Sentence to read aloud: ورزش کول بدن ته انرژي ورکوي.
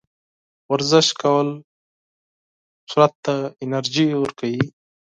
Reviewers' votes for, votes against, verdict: 0, 4, rejected